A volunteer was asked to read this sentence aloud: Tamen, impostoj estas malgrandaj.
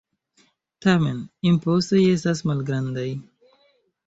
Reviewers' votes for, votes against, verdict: 1, 2, rejected